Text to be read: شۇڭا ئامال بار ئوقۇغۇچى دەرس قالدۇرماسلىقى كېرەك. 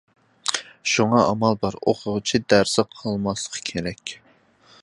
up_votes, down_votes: 0, 2